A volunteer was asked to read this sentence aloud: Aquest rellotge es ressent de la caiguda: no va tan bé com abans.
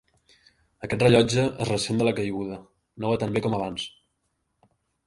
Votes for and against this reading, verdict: 2, 0, accepted